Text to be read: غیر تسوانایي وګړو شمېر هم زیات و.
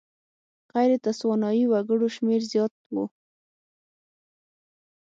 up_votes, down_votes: 3, 6